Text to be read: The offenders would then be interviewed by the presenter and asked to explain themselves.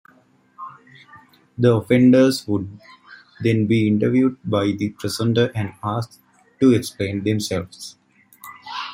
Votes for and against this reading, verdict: 2, 1, accepted